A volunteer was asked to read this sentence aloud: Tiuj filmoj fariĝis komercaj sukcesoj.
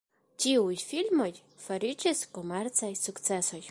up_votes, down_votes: 1, 2